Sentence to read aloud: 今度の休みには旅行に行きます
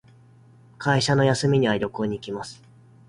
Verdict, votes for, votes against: rejected, 1, 2